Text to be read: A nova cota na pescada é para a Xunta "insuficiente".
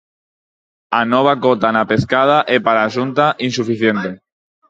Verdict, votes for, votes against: rejected, 2, 4